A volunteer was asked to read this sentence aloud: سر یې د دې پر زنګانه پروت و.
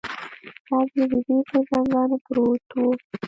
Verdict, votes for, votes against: rejected, 1, 2